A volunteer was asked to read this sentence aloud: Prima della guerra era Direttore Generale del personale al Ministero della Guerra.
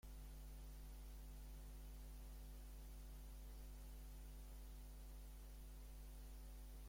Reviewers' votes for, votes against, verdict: 0, 2, rejected